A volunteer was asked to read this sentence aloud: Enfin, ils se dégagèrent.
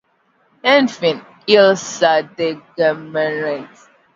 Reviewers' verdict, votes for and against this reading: rejected, 0, 2